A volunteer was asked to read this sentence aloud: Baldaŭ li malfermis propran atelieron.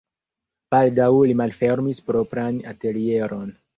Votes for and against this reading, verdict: 1, 2, rejected